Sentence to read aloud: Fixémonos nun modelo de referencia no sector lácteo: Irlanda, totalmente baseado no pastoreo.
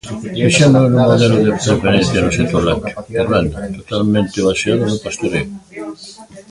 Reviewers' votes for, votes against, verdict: 0, 2, rejected